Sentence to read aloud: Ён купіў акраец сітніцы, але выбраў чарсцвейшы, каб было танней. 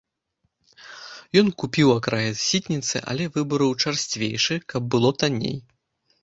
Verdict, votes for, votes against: accepted, 3, 1